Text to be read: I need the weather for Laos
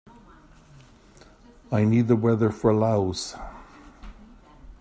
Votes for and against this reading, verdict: 2, 0, accepted